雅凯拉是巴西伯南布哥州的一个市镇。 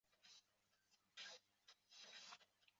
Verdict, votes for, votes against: rejected, 0, 2